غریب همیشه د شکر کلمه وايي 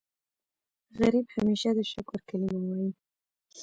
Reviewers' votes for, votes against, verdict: 1, 2, rejected